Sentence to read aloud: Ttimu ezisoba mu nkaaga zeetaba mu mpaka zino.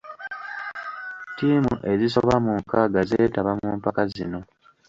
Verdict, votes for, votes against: rejected, 1, 2